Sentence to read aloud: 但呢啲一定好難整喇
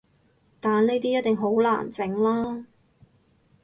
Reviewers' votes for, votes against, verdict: 2, 0, accepted